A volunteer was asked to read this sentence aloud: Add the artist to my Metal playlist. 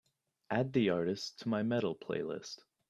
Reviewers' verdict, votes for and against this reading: accepted, 2, 0